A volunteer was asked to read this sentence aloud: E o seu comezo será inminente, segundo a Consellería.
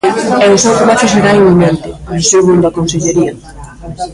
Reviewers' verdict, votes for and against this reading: rejected, 0, 2